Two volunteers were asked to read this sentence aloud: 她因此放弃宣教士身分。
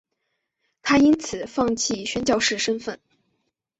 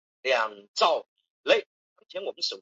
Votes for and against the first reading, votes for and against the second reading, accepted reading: 3, 0, 0, 2, first